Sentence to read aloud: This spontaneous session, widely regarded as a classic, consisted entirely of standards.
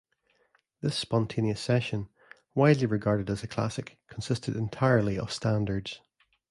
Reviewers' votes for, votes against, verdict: 2, 0, accepted